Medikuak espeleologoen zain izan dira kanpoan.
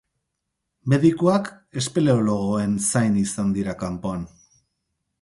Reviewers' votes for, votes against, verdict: 4, 0, accepted